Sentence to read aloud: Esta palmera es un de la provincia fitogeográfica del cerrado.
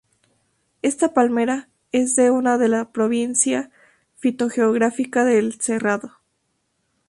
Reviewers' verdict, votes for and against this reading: accepted, 2, 0